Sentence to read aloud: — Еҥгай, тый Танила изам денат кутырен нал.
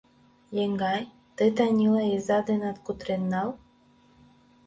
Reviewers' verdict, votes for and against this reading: rejected, 2, 3